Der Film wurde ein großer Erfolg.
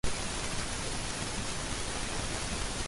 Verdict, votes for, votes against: rejected, 0, 3